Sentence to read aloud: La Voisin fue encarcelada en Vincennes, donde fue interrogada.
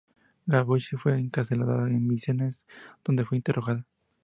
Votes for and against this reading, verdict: 0, 2, rejected